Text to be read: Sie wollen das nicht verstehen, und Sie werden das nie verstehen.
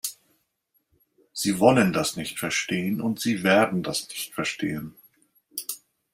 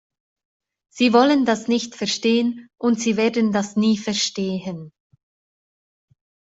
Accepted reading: second